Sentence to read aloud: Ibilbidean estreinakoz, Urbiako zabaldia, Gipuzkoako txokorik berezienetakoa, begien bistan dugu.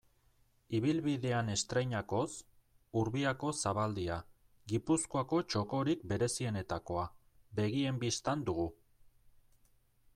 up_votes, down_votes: 2, 0